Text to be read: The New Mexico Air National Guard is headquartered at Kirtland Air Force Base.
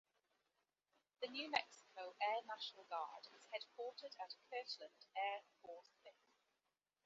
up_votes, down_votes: 2, 1